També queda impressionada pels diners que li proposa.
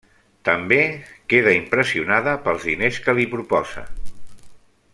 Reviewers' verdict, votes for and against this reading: accepted, 3, 1